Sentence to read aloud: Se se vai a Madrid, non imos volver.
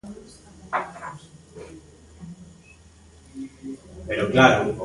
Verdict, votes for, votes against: rejected, 0, 2